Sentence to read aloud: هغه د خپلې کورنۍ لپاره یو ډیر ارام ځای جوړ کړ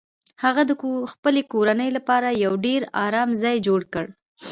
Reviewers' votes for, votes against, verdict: 2, 1, accepted